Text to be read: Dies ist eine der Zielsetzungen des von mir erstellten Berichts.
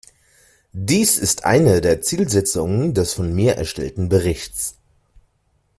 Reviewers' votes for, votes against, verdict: 3, 0, accepted